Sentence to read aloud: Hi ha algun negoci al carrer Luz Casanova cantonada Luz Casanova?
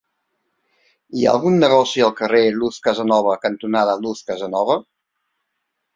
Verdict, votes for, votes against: accepted, 3, 0